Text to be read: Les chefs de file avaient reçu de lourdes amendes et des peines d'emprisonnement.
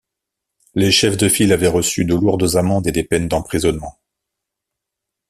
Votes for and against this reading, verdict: 2, 0, accepted